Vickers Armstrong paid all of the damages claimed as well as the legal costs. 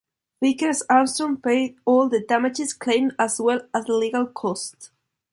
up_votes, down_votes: 2, 0